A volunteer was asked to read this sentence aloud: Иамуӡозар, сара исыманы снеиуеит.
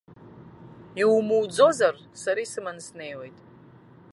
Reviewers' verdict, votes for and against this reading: rejected, 1, 2